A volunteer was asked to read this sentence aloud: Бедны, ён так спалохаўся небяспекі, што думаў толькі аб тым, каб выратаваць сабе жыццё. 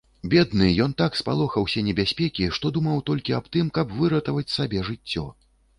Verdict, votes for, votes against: accepted, 2, 0